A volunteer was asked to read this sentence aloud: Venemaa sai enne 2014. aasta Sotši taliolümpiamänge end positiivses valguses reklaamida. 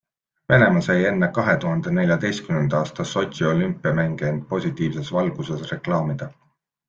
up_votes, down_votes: 0, 2